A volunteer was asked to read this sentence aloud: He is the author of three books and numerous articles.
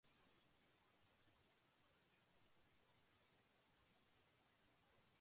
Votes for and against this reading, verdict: 0, 2, rejected